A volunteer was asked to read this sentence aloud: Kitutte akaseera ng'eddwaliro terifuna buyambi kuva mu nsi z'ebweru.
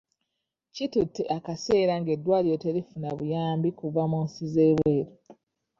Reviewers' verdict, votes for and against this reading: accepted, 2, 0